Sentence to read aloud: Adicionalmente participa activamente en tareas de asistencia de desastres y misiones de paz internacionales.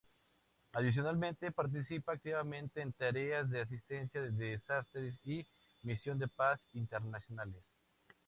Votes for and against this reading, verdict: 0, 2, rejected